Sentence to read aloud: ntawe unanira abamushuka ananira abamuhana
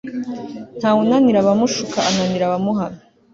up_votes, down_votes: 3, 0